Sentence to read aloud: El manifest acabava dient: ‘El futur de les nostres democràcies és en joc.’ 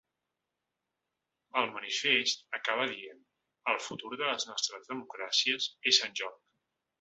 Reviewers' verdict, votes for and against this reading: rejected, 0, 2